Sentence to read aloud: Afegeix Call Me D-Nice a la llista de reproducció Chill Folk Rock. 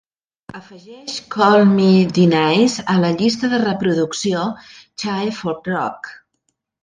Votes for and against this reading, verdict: 1, 2, rejected